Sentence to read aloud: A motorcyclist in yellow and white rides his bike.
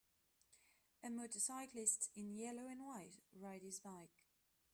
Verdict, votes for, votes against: rejected, 0, 2